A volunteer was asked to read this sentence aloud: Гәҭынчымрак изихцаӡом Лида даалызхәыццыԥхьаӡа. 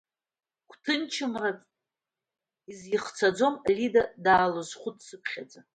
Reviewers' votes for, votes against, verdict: 1, 2, rejected